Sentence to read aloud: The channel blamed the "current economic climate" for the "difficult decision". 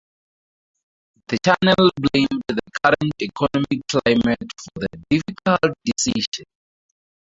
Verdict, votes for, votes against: rejected, 2, 4